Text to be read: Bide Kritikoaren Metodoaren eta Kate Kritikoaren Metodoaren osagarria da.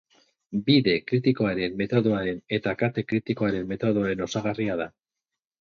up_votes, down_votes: 6, 0